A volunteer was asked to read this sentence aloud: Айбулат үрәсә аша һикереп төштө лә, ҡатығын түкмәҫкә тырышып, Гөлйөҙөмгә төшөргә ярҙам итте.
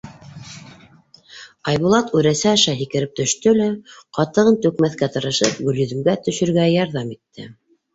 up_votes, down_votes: 2, 0